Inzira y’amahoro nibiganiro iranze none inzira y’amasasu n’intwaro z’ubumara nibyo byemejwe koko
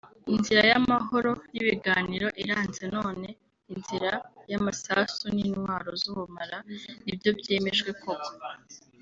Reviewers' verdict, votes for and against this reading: accepted, 2, 1